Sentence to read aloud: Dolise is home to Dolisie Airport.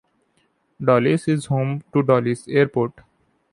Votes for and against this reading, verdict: 2, 0, accepted